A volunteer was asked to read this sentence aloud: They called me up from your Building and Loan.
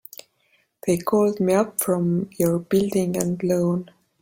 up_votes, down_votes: 3, 0